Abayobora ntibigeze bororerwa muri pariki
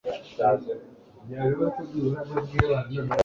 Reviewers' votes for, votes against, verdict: 0, 2, rejected